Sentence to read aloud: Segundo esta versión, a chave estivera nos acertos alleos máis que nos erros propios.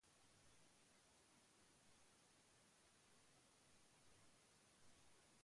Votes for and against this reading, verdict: 0, 3, rejected